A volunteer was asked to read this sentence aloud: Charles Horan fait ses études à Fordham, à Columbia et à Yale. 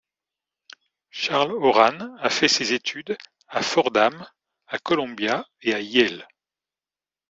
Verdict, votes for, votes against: rejected, 0, 2